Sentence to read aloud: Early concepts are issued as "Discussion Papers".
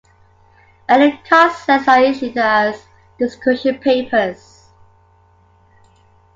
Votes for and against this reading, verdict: 2, 0, accepted